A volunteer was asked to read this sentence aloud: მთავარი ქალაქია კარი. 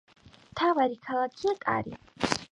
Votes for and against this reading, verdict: 2, 0, accepted